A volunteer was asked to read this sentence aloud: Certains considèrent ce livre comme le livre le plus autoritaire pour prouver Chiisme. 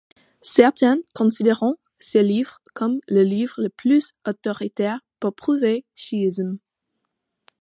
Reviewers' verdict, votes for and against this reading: rejected, 0, 2